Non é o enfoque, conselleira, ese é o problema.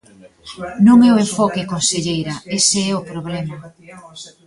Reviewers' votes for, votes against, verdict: 1, 2, rejected